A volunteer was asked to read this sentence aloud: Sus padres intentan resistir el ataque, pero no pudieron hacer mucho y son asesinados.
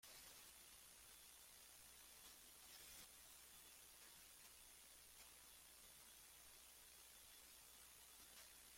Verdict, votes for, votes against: rejected, 0, 2